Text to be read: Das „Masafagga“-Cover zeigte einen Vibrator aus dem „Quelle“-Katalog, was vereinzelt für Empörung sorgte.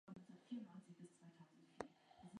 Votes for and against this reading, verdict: 0, 2, rejected